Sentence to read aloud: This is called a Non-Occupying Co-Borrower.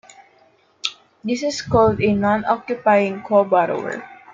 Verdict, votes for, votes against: accepted, 2, 0